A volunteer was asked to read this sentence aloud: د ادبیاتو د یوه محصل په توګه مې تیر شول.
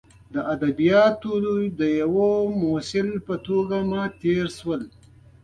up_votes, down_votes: 2, 0